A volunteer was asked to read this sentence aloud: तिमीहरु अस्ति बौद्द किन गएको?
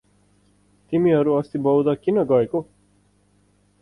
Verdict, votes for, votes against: accepted, 4, 0